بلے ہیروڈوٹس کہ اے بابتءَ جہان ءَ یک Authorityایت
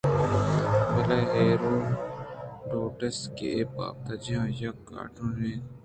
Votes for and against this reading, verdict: 2, 1, accepted